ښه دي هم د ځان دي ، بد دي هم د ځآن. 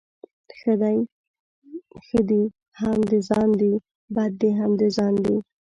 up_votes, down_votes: 1, 2